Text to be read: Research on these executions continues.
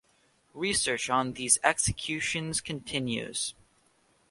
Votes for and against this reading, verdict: 2, 0, accepted